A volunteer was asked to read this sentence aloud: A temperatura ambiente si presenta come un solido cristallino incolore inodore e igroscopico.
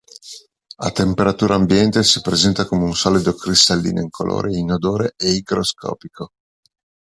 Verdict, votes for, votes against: accepted, 2, 0